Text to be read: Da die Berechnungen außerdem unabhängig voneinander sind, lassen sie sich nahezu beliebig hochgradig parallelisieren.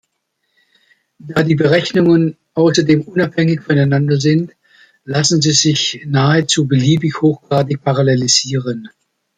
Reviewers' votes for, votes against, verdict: 2, 0, accepted